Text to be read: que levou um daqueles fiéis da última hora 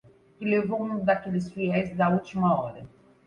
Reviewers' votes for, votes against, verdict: 0, 2, rejected